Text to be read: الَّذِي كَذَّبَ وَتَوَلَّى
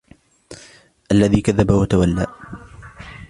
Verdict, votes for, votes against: accepted, 2, 0